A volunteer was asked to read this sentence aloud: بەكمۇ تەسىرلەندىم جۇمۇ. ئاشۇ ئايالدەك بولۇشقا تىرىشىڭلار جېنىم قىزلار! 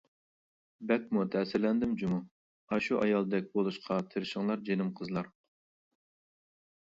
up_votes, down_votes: 2, 0